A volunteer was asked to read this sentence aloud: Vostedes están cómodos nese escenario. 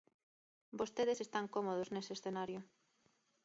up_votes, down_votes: 2, 0